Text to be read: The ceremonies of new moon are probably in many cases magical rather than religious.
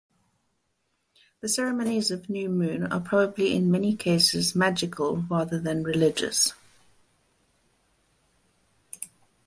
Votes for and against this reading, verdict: 4, 0, accepted